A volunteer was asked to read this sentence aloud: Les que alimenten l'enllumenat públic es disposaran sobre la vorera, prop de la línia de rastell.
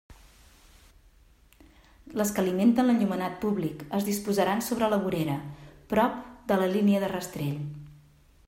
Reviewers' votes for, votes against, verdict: 2, 1, accepted